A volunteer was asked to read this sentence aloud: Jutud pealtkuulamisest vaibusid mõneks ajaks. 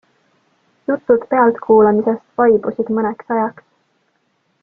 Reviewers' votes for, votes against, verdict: 2, 0, accepted